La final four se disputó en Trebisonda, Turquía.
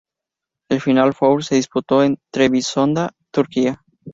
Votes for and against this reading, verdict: 2, 0, accepted